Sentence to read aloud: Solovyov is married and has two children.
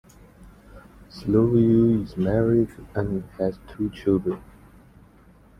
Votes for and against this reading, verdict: 1, 2, rejected